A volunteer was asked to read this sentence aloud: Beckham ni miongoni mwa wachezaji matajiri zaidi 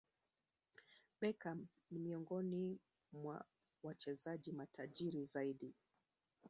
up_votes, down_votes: 2, 3